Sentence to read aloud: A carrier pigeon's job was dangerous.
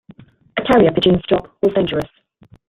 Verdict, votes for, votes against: accepted, 2, 0